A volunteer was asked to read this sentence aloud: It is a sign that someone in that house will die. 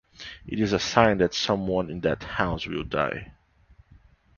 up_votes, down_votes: 2, 0